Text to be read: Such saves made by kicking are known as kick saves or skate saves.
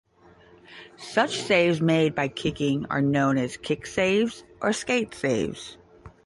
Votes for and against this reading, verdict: 10, 0, accepted